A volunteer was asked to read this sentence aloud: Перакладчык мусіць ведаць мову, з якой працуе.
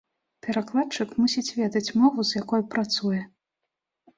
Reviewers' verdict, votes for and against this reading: rejected, 0, 2